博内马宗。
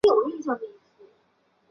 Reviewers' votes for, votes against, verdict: 0, 2, rejected